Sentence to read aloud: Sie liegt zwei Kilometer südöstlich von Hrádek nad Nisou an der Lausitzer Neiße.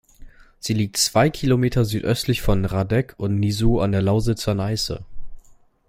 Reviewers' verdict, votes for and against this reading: rejected, 0, 2